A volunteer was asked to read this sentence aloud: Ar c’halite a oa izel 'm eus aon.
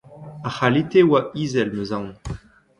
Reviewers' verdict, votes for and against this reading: accepted, 2, 0